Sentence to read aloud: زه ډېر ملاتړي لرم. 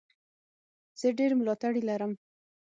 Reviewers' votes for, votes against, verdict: 6, 0, accepted